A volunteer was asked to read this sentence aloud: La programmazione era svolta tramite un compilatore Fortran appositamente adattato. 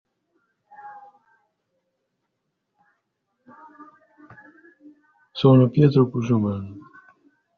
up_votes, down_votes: 0, 2